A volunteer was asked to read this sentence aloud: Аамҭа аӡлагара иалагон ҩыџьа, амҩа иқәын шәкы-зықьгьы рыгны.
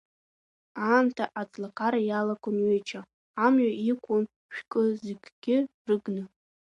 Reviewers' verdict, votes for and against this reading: accepted, 2, 0